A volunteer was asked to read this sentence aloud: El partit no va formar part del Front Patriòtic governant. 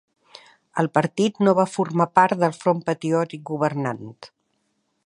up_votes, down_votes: 1, 2